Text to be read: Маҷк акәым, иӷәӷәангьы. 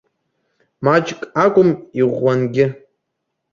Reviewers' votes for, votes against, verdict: 2, 1, accepted